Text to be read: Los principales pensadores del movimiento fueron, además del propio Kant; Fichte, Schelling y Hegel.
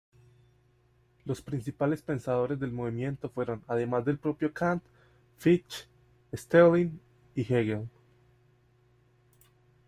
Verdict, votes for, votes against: rejected, 1, 2